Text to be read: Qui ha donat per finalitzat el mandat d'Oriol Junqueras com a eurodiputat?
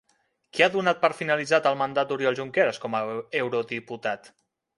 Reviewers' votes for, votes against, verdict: 2, 1, accepted